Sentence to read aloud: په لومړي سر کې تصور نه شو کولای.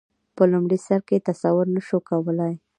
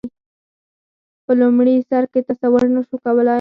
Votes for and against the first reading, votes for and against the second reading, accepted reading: 2, 0, 2, 4, first